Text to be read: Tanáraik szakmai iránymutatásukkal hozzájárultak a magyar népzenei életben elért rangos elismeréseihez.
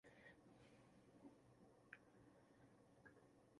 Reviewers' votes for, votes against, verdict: 0, 2, rejected